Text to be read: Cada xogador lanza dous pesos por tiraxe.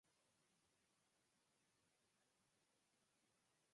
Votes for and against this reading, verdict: 0, 4, rejected